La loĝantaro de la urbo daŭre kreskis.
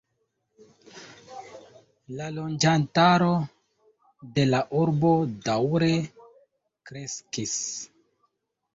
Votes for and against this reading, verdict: 1, 2, rejected